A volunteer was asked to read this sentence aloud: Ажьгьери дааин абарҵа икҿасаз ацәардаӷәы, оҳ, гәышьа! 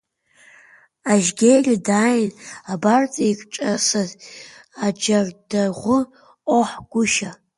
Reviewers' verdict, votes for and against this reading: rejected, 0, 2